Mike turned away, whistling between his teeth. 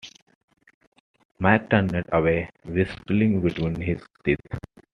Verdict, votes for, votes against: accepted, 2, 1